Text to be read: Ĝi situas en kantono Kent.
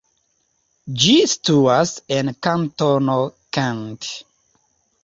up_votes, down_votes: 2, 0